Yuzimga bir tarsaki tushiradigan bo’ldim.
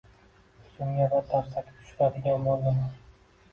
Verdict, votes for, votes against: accepted, 2, 1